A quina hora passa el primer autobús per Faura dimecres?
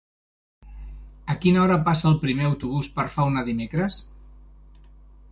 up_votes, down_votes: 1, 2